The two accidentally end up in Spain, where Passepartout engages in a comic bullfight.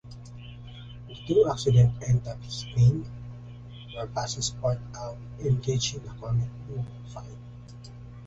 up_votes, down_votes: 0, 2